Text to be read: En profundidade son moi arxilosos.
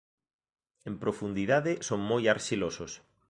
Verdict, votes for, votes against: accepted, 2, 0